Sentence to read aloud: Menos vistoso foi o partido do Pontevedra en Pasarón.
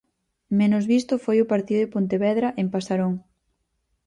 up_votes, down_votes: 0, 4